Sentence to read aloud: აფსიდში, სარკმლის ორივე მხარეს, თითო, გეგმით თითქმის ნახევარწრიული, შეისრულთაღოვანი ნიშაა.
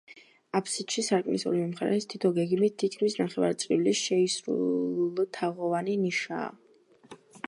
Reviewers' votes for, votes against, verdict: 1, 2, rejected